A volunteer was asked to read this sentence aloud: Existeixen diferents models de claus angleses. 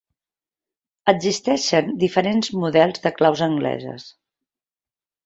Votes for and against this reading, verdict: 2, 0, accepted